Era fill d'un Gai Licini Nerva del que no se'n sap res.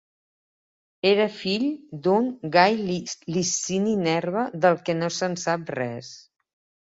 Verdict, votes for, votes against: rejected, 1, 2